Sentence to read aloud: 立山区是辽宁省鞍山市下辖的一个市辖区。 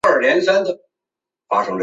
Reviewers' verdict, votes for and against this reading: rejected, 0, 2